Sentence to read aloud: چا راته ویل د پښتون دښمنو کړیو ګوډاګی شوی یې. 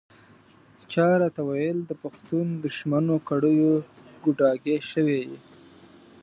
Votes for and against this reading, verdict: 2, 1, accepted